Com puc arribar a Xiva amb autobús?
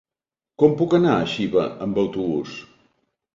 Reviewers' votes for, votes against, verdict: 1, 2, rejected